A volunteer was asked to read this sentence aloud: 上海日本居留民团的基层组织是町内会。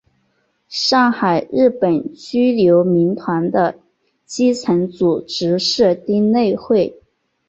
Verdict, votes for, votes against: accepted, 2, 0